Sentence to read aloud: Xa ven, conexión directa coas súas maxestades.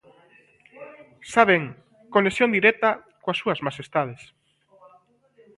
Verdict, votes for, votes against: rejected, 0, 2